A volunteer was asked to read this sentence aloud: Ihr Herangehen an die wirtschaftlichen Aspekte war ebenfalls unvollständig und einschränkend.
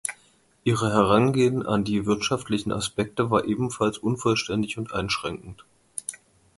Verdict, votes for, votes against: rejected, 0, 2